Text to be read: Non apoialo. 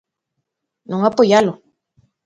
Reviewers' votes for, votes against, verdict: 2, 0, accepted